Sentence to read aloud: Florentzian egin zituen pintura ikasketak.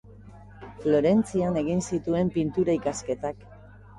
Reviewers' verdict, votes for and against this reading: accepted, 2, 0